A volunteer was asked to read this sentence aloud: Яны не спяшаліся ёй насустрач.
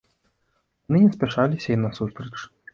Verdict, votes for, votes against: rejected, 2, 3